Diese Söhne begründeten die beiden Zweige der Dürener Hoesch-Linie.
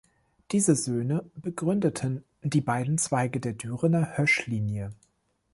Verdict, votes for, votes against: accepted, 2, 0